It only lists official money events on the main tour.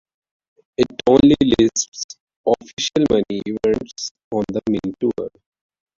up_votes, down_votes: 0, 2